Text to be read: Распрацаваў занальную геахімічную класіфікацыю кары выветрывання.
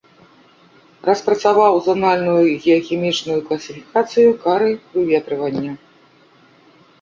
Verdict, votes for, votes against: rejected, 1, 2